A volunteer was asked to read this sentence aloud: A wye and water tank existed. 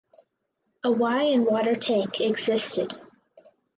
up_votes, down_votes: 4, 2